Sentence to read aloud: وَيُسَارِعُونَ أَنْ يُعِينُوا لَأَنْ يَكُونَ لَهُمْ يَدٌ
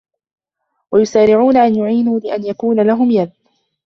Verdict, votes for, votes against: rejected, 1, 2